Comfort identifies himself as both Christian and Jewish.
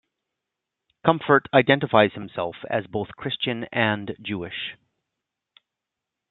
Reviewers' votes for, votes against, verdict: 2, 0, accepted